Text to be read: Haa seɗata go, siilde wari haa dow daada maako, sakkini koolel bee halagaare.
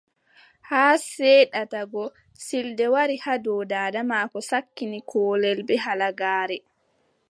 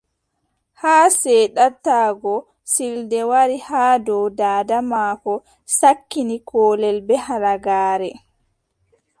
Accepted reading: first